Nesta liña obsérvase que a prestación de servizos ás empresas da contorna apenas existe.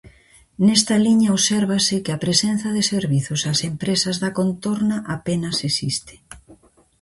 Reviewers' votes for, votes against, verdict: 0, 2, rejected